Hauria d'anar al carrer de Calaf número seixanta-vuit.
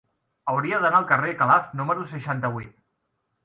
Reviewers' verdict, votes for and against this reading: rejected, 0, 2